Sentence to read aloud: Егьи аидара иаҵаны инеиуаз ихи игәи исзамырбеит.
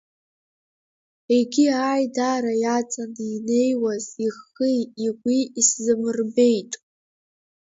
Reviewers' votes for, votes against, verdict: 2, 0, accepted